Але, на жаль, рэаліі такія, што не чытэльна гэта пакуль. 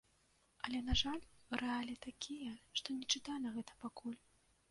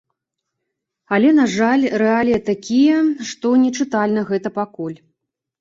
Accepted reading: second